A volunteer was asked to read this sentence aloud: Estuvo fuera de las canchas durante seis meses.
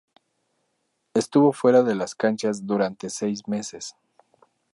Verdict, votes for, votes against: rejected, 2, 2